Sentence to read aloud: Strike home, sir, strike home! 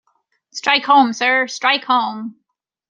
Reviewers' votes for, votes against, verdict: 2, 0, accepted